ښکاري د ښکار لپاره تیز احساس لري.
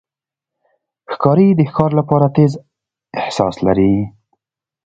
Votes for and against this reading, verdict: 2, 0, accepted